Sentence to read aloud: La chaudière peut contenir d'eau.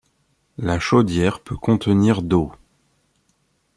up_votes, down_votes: 2, 0